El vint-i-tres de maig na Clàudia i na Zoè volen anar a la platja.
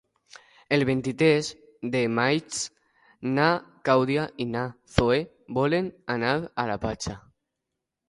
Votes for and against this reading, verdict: 0, 2, rejected